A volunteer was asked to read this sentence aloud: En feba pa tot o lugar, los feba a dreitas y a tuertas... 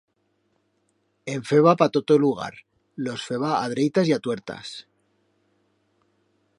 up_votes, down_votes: 2, 0